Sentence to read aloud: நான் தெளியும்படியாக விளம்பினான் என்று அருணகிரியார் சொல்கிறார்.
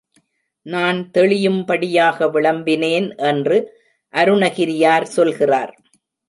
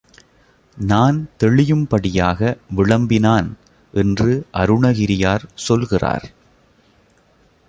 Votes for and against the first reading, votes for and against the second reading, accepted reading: 0, 2, 2, 0, second